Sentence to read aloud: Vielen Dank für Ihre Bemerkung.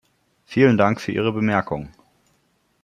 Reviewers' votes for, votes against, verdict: 2, 0, accepted